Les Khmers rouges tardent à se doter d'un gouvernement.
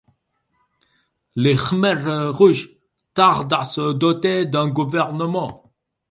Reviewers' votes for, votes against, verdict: 2, 4, rejected